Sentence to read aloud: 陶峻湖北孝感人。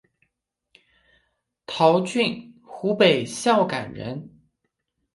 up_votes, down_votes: 6, 0